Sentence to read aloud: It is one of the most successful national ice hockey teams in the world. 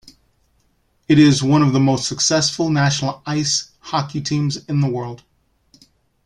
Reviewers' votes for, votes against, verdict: 2, 0, accepted